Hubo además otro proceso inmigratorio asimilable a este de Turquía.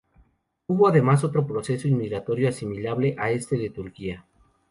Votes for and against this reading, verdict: 2, 0, accepted